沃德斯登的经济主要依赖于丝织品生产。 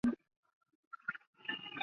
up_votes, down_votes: 0, 2